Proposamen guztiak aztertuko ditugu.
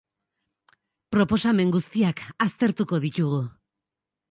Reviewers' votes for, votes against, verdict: 4, 0, accepted